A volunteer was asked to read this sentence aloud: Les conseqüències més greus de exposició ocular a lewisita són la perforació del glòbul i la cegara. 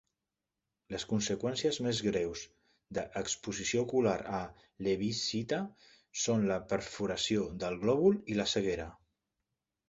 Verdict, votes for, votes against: rejected, 1, 2